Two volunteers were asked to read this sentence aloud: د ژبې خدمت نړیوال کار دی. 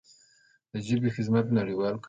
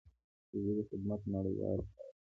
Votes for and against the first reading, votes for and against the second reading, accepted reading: 1, 2, 2, 0, second